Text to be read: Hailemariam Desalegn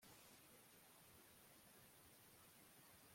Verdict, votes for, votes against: rejected, 0, 2